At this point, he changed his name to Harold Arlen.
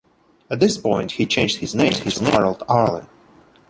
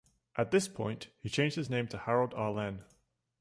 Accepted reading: second